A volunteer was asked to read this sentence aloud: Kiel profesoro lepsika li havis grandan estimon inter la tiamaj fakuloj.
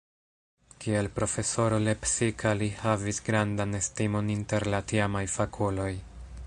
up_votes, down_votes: 2, 0